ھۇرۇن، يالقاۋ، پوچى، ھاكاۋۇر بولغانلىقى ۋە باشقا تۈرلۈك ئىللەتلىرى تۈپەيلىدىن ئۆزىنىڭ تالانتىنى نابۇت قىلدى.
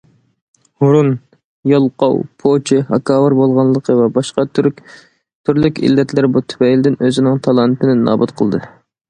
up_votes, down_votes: 0, 2